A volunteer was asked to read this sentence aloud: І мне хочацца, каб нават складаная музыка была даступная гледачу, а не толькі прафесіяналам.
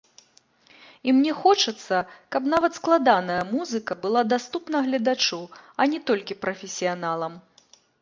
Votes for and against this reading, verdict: 2, 0, accepted